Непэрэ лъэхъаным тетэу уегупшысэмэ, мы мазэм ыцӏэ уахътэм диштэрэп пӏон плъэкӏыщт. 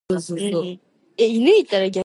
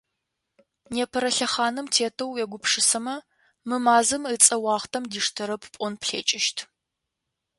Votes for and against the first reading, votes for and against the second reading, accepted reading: 0, 2, 2, 0, second